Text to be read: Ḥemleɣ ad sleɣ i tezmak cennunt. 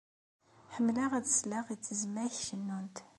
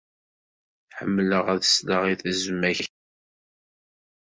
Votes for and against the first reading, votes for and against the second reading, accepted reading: 2, 0, 0, 2, first